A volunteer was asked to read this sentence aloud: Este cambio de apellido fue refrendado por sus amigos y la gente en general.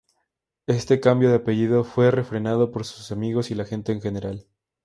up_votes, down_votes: 2, 0